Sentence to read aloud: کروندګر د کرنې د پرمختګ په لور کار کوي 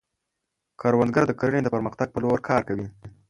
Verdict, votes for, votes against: accepted, 2, 0